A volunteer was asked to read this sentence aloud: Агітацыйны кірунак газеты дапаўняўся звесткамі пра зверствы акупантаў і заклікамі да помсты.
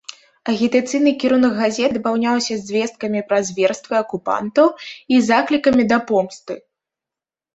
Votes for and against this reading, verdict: 2, 1, accepted